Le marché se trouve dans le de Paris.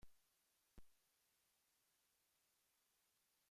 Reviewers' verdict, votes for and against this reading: rejected, 0, 2